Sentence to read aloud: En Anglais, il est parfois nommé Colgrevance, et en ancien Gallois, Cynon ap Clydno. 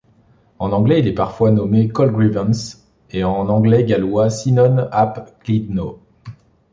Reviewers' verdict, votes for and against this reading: rejected, 0, 2